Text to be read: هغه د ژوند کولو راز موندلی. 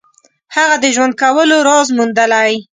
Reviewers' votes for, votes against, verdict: 2, 0, accepted